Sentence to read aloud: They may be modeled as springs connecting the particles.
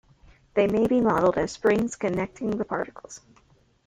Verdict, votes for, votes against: accepted, 2, 0